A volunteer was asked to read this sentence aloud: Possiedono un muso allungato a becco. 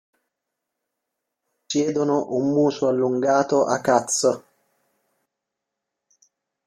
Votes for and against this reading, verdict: 0, 2, rejected